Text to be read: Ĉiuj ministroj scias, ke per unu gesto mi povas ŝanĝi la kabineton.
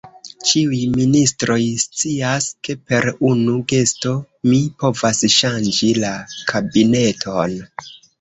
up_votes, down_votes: 2, 1